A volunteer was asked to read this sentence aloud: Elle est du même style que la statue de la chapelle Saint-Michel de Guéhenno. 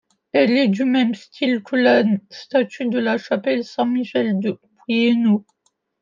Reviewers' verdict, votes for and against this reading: rejected, 1, 2